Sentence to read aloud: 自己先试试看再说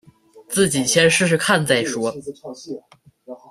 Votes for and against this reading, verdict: 2, 0, accepted